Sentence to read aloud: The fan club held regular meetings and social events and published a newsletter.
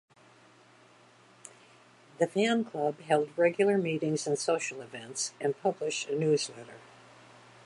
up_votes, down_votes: 2, 0